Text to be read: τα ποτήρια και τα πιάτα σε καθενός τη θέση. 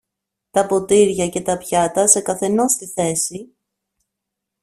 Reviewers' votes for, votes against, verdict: 2, 1, accepted